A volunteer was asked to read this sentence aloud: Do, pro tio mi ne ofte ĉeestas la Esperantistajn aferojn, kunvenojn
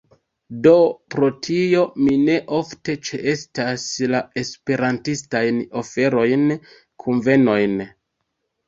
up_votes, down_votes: 1, 2